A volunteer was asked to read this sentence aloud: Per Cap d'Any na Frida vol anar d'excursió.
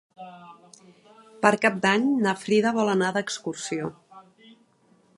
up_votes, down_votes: 3, 0